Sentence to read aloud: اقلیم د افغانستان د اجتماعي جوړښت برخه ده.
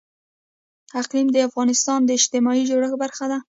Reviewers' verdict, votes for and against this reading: accepted, 2, 0